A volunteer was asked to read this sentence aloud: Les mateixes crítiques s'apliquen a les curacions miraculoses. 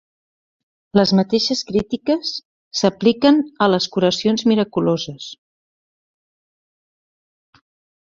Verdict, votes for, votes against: accepted, 4, 0